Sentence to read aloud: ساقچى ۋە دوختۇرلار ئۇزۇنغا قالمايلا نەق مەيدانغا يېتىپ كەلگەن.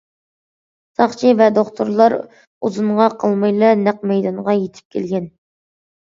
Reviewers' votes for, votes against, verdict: 2, 0, accepted